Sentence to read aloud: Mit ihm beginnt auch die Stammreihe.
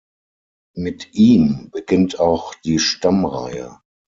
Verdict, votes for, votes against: accepted, 6, 0